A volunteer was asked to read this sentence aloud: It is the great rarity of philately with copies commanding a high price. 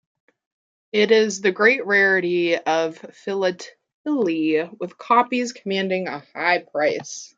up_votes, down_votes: 2, 0